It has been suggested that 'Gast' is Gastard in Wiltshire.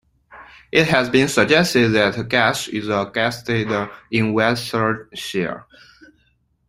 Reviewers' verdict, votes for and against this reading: rejected, 1, 2